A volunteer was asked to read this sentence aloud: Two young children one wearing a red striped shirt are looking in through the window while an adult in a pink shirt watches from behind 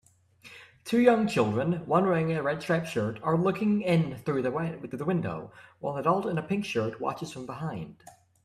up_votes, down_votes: 1, 2